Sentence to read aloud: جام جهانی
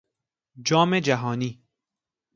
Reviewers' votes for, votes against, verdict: 2, 0, accepted